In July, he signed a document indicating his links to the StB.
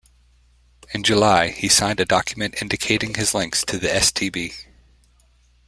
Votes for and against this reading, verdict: 2, 0, accepted